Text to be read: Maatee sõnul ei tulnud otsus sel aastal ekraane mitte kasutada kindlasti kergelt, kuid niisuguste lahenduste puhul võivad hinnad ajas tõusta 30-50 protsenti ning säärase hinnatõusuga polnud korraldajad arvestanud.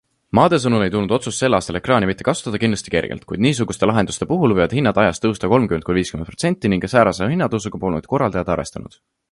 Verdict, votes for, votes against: rejected, 0, 2